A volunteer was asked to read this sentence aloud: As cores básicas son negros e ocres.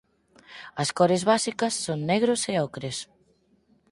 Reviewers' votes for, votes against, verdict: 4, 0, accepted